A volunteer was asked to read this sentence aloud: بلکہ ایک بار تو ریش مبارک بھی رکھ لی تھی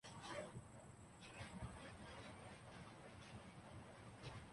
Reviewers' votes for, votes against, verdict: 0, 2, rejected